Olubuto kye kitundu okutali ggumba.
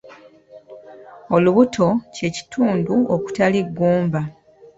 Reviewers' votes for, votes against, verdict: 1, 2, rejected